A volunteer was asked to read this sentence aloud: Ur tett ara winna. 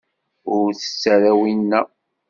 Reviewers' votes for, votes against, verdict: 2, 0, accepted